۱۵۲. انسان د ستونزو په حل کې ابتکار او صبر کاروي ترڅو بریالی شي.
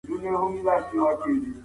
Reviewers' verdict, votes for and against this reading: rejected, 0, 2